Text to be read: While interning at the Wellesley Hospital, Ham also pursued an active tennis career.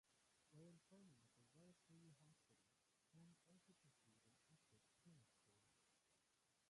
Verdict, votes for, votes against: rejected, 0, 2